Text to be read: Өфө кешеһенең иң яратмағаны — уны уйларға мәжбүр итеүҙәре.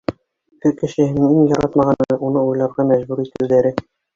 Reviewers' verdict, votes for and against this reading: accepted, 3, 2